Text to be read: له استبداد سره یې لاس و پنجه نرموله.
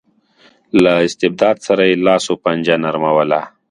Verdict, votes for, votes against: accepted, 2, 0